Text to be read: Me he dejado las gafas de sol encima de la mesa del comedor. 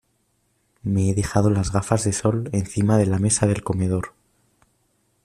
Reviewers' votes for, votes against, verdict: 2, 0, accepted